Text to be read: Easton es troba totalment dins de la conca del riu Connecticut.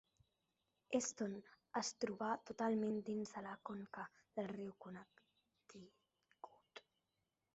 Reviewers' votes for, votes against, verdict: 0, 2, rejected